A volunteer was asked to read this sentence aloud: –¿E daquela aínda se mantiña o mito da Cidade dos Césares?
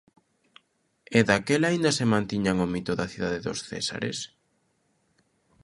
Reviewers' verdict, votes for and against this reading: rejected, 0, 2